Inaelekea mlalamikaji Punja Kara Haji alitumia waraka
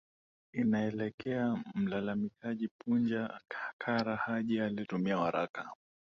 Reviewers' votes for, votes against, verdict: 0, 2, rejected